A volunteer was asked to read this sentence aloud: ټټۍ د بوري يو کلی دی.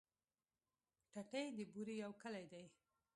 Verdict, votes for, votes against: accepted, 2, 1